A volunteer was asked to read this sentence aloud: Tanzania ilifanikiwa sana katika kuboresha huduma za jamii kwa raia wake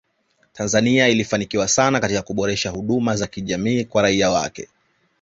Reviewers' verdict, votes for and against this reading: accepted, 3, 0